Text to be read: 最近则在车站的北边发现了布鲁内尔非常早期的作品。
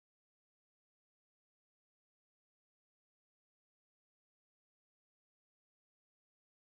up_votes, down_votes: 1, 3